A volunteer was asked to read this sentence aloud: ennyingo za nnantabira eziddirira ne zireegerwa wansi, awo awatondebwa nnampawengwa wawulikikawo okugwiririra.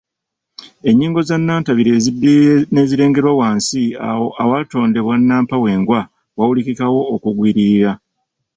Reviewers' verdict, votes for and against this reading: rejected, 1, 2